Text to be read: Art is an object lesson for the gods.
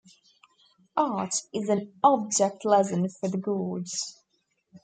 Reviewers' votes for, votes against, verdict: 1, 2, rejected